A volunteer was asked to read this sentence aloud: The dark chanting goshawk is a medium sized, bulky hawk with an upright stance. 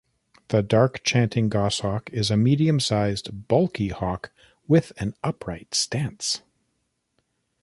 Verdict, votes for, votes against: rejected, 0, 2